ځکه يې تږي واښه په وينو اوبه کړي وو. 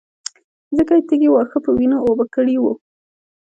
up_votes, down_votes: 2, 1